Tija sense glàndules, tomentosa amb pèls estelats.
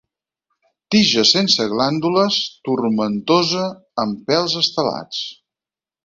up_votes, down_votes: 2, 4